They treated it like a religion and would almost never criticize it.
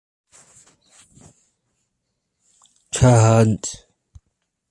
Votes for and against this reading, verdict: 0, 2, rejected